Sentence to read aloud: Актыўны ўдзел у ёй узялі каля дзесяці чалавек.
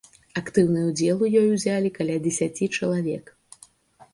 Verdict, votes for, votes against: accepted, 2, 0